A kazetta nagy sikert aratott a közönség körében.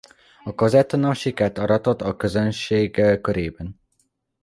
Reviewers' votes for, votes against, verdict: 1, 2, rejected